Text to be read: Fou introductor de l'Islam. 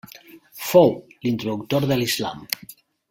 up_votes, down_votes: 2, 0